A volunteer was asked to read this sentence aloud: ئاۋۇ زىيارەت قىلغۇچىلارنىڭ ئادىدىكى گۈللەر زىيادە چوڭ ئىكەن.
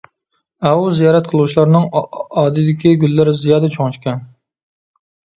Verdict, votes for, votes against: rejected, 1, 2